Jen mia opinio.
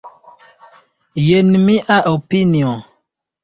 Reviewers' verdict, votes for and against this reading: accepted, 2, 0